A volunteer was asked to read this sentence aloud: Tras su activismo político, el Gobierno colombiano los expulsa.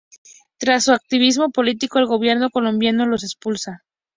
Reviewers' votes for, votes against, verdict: 2, 0, accepted